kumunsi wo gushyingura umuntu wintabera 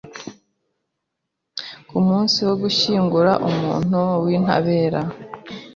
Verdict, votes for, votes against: accepted, 2, 0